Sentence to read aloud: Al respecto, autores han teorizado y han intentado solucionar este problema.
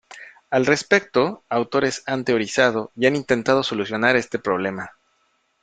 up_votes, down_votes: 2, 1